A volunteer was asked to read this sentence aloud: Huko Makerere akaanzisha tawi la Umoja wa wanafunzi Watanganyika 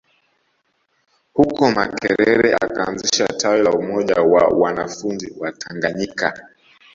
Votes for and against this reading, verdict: 1, 2, rejected